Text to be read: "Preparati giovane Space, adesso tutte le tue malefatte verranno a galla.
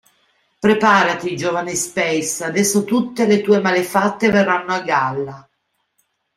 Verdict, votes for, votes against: accepted, 2, 0